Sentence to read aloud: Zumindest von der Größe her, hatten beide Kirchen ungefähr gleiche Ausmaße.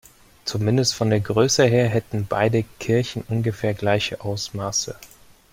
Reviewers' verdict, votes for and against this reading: rejected, 0, 2